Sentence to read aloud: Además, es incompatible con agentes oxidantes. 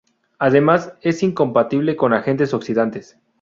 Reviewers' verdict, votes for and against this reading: accepted, 2, 0